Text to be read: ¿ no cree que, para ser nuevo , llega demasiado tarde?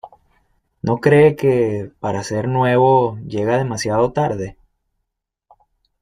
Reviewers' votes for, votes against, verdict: 2, 0, accepted